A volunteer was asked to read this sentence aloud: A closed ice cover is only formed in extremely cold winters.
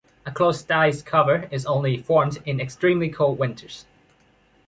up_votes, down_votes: 2, 0